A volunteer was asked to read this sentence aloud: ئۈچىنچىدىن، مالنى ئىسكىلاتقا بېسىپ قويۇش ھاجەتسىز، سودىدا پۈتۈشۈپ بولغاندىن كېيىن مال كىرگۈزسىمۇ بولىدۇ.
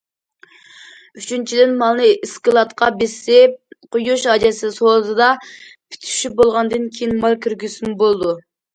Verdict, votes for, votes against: accepted, 2, 0